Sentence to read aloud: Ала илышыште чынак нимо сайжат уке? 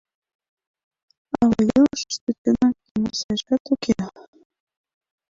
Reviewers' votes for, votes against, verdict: 1, 2, rejected